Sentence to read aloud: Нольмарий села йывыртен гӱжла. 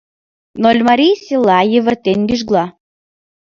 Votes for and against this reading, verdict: 1, 2, rejected